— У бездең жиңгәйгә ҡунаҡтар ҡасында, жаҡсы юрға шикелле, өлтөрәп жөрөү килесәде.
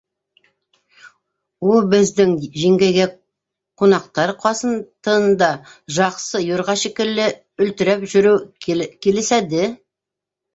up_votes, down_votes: 0, 2